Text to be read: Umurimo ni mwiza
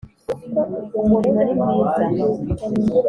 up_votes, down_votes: 2, 0